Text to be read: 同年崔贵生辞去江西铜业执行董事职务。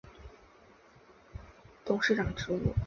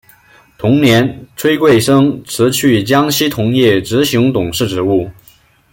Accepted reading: second